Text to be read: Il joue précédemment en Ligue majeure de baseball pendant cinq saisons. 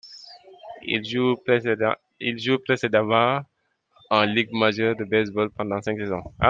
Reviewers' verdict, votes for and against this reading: rejected, 0, 2